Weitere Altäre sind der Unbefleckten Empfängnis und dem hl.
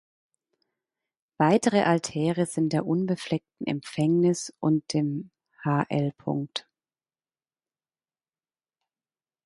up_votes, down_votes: 0, 2